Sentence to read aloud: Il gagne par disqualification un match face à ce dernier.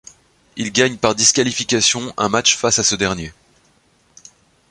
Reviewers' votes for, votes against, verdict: 2, 0, accepted